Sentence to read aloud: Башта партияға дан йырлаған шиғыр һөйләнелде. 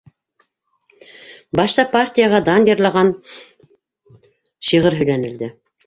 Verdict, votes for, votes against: rejected, 0, 2